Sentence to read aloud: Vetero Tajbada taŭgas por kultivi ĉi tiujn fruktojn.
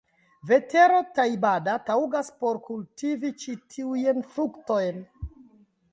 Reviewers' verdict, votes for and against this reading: accepted, 2, 0